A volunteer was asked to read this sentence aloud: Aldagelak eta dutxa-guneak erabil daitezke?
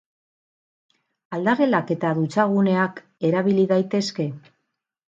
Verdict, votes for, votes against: rejected, 2, 4